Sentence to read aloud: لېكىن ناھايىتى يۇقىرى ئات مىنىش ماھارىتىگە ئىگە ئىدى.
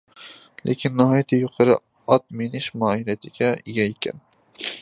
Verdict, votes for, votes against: rejected, 0, 2